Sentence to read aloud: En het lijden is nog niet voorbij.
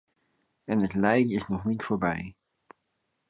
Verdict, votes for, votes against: accepted, 2, 0